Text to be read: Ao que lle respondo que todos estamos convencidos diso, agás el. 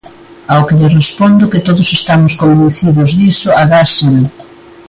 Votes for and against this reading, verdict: 1, 2, rejected